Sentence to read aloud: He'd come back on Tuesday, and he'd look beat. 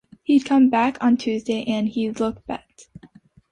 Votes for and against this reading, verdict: 1, 2, rejected